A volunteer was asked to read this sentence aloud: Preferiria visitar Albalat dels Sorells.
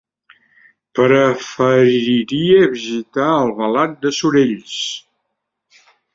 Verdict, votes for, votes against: rejected, 1, 2